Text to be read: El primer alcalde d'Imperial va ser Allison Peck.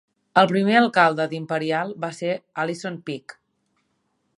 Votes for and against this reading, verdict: 2, 0, accepted